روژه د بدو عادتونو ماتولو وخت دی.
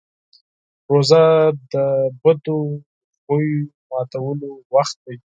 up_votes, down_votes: 2, 4